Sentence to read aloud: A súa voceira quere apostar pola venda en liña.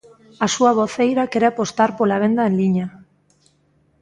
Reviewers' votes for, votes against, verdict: 2, 0, accepted